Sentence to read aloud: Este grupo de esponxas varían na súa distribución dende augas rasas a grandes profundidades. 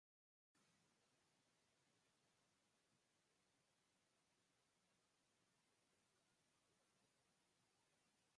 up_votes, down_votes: 0, 4